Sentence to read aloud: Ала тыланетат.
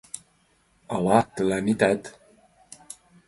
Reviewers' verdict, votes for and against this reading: accepted, 2, 1